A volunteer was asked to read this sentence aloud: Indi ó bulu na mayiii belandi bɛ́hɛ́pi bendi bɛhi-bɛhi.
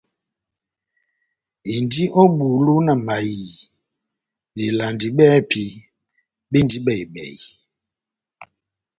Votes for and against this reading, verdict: 2, 0, accepted